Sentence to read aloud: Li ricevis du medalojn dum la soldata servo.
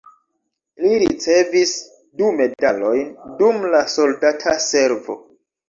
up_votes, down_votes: 0, 2